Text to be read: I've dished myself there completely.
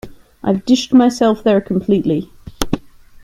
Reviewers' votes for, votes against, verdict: 2, 0, accepted